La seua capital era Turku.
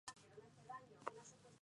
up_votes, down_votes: 0, 2